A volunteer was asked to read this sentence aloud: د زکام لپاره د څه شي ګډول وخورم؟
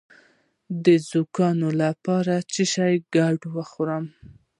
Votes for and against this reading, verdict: 1, 2, rejected